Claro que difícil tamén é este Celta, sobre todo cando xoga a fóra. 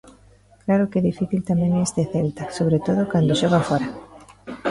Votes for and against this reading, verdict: 2, 0, accepted